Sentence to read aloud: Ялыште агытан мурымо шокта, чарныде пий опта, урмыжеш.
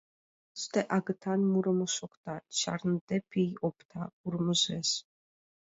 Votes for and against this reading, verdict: 2, 3, rejected